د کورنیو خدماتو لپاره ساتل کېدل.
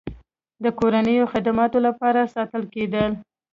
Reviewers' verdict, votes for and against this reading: rejected, 1, 2